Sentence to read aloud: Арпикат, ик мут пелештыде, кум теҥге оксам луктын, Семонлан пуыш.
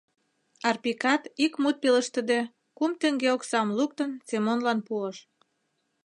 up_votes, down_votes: 3, 0